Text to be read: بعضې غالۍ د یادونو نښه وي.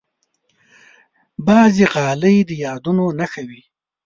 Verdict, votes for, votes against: accepted, 2, 0